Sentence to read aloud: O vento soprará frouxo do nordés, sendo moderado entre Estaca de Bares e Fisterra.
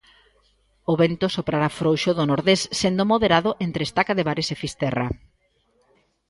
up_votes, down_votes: 2, 0